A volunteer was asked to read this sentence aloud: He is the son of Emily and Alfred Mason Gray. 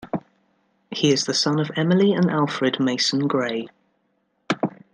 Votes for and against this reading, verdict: 2, 1, accepted